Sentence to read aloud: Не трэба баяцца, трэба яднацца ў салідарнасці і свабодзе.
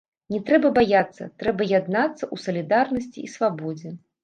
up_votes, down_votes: 1, 2